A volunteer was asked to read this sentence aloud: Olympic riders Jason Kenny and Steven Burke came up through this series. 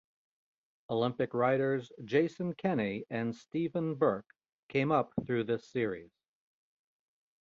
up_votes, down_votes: 2, 0